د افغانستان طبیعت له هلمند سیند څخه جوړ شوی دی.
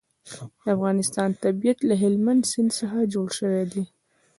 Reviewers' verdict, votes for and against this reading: rejected, 0, 2